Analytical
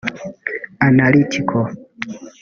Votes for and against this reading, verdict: 1, 3, rejected